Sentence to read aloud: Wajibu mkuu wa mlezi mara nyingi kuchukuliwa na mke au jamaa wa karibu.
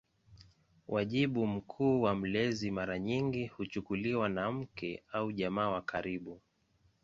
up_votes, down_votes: 2, 0